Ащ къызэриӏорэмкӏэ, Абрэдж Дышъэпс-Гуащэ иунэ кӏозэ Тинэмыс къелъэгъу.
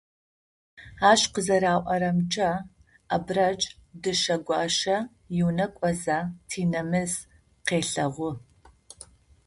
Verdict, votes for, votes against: rejected, 0, 2